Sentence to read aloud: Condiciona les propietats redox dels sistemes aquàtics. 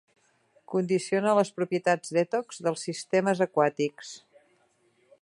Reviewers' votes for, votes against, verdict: 1, 2, rejected